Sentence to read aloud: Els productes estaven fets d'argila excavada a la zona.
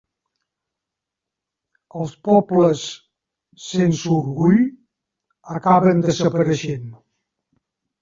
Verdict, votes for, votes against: rejected, 0, 2